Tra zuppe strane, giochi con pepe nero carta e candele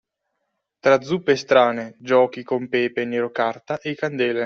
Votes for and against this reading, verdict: 2, 1, accepted